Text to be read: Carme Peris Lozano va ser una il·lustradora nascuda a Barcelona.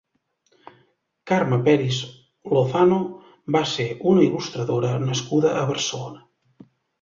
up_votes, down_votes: 2, 0